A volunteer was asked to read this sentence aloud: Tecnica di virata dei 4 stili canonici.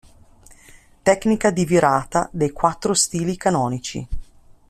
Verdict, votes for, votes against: rejected, 0, 2